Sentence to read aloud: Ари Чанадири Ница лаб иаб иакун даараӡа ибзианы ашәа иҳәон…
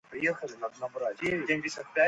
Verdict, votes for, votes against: rejected, 1, 2